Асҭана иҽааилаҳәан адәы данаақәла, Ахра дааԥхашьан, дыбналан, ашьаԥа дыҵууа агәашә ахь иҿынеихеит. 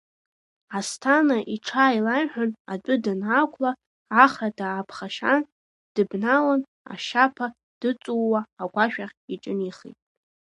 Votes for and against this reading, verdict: 1, 2, rejected